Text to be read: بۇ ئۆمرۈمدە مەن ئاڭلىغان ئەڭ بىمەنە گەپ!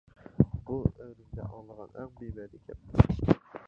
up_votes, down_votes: 0, 2